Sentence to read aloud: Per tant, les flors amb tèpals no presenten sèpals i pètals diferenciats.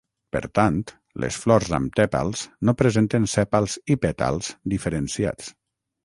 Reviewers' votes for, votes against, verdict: 3, 6, rejected